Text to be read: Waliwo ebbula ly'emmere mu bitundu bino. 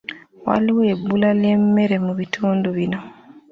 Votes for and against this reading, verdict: 2, 0, accepted